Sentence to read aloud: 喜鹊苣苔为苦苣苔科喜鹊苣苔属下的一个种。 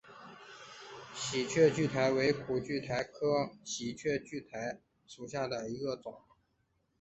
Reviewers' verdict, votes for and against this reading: accepted, 4, 0